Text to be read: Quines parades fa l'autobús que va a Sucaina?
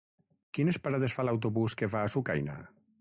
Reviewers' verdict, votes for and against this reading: accepted, 6, 0